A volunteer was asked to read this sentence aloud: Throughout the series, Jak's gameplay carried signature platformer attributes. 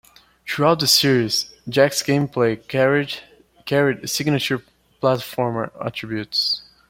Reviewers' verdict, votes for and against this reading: accepted, 2, 0